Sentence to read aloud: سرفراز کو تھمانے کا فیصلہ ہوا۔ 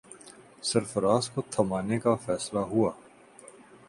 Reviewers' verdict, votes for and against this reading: accepted, 4, 0